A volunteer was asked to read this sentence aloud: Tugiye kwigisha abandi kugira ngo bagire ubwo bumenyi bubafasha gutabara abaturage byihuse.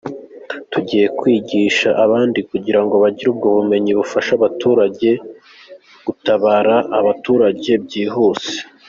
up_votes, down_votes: 2, 1